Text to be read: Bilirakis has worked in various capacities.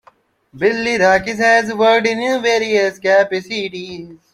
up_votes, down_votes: 0, 2